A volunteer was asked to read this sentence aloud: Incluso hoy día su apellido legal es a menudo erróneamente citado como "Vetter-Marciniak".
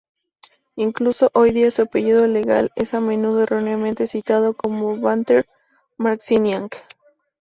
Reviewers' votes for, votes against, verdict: 0, 2, rejected